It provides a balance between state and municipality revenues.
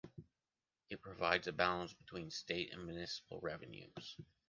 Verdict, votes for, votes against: rejected, 0, 2